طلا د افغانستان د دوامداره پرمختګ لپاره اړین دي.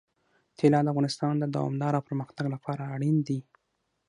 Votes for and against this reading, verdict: 6, 0, accepted